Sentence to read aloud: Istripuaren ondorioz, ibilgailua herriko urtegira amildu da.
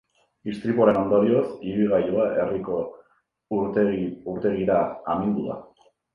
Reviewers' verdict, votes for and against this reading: rejected, 0, 2